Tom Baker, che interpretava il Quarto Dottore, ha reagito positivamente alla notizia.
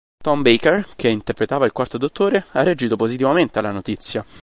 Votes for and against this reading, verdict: 3, 0, accepted